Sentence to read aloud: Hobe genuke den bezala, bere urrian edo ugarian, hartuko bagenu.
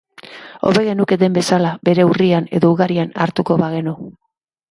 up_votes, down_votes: 2, 0